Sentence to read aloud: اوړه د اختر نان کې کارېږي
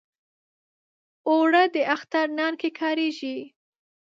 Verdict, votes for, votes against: rejected, 1, 2